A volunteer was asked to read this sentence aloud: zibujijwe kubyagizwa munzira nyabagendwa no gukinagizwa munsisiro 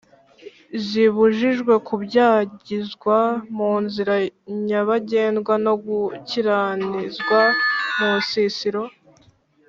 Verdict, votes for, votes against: rejected, 1, 2